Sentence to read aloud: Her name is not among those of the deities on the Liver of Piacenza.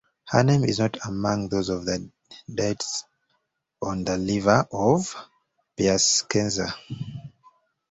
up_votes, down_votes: 0, 2